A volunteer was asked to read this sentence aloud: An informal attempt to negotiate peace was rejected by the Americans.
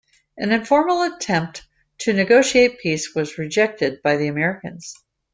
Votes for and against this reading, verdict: 2, 0, accepted